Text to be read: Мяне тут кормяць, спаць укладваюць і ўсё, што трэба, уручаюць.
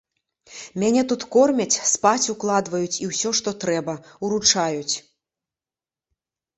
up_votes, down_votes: 2, 0